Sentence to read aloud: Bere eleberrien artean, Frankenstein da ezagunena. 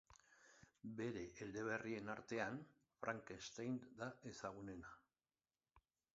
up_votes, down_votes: 2, 0